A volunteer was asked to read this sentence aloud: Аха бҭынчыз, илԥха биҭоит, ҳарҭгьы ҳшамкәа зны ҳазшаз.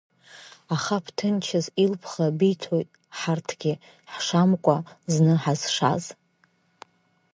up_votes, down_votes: 5, 2